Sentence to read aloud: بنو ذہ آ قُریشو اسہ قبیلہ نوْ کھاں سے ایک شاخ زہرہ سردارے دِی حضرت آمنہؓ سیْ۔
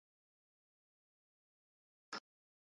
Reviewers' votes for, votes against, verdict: 0, 2, rejected